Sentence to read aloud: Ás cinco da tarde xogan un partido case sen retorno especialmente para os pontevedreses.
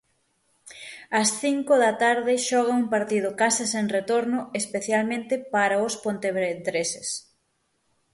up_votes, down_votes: 3, 6